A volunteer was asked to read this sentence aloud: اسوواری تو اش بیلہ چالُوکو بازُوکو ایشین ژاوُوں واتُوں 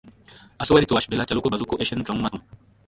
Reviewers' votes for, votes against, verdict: 1, 2, rejected